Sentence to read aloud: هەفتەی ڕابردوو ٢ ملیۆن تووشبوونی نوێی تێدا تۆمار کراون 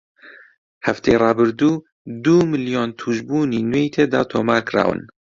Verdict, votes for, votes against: rejected, 0, 2